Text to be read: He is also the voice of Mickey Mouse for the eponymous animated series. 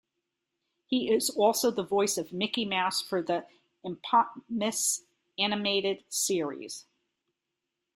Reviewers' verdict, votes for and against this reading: rejected, 0, 2